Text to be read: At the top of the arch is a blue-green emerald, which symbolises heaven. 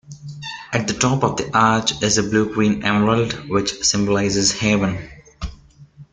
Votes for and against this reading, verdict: 2, 0, accepted